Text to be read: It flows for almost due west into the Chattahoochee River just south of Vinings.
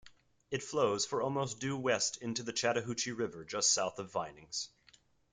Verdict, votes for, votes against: accepted, 3, 0